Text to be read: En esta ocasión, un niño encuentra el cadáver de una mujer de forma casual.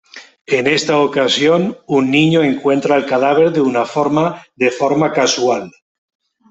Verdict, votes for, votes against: rejected, 1, 2